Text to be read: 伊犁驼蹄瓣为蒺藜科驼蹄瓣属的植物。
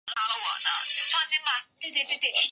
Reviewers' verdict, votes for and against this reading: rejected, 0, 2